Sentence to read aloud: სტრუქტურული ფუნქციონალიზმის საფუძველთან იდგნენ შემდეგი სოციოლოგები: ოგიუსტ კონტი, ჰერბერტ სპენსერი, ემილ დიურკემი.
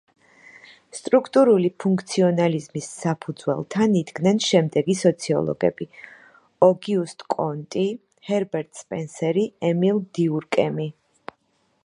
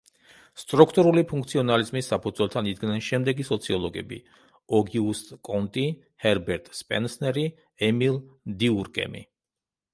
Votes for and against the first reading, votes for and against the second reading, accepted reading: 2, 0, 1, 2, first